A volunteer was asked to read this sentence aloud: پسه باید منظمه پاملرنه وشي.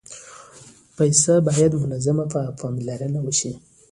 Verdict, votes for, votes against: rejected, 1, 2